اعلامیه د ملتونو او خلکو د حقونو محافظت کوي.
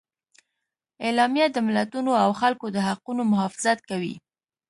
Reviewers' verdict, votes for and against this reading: accepted, 3, 0